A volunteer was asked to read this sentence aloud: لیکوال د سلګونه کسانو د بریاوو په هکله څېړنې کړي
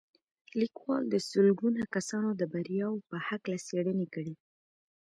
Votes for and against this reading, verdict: 2, 0, accepted